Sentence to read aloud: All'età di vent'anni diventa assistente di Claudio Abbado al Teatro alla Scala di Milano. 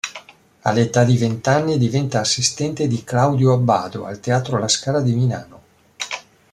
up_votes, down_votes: 1, 2